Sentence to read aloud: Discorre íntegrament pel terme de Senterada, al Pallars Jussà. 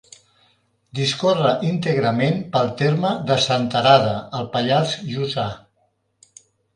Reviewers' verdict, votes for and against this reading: accepted, 2, 0